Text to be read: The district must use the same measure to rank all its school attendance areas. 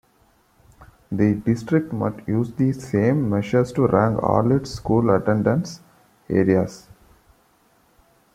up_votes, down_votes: 1, 2